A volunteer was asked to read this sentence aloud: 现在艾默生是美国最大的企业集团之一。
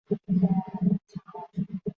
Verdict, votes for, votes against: rejected, 0, 4